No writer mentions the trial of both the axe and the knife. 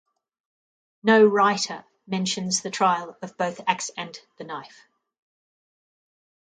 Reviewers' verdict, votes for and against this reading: rejected, 0, 2